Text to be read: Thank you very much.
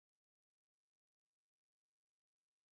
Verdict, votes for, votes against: rejected, 0, 2